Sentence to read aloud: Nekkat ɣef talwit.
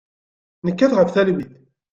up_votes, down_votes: 2, 0